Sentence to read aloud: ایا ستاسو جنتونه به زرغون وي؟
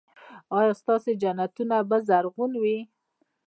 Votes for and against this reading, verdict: 1, 2, rejected